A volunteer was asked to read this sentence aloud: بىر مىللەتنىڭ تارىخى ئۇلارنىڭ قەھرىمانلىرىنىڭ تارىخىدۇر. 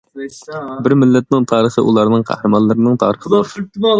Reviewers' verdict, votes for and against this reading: rejected, 0, 2